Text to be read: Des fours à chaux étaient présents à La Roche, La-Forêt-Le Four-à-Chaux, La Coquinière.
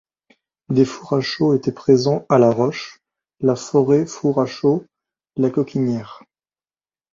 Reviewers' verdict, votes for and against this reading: rejected, 1, 2